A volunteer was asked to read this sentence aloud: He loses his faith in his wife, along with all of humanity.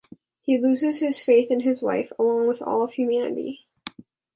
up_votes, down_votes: 2, 0